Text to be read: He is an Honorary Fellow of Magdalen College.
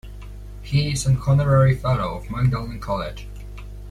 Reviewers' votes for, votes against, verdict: 0, 2, rejected